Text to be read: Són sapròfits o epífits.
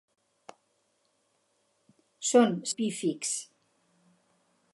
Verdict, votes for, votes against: rejected, 0, 2